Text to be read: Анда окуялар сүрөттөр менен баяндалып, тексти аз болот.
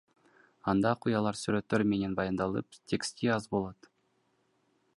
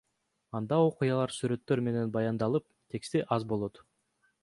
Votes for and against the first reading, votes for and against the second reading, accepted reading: 0, 2, 2, 0, second